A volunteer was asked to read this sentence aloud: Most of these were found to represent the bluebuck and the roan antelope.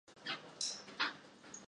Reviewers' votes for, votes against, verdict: 0, 2, rejected